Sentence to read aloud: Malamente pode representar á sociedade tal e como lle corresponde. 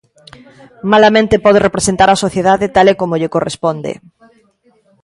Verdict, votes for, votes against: accepted, 2, 1